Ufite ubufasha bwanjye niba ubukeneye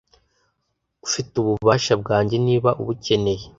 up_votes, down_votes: 1, 2